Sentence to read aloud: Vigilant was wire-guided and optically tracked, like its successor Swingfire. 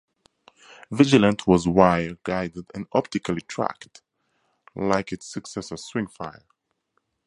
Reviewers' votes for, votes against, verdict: 4, 0, accepted